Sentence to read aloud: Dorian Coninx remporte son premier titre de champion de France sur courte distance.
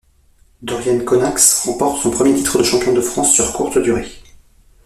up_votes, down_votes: 1, 2